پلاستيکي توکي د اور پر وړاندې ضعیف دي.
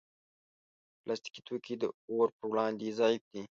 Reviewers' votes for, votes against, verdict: 2, 0, accepted